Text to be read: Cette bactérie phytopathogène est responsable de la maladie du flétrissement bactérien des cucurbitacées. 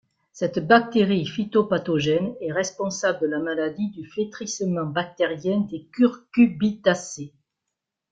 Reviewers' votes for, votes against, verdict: 0, 2, rejected